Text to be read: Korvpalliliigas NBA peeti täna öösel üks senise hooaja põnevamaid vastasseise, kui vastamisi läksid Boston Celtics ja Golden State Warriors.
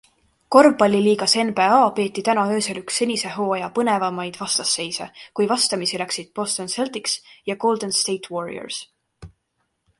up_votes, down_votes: 0, 2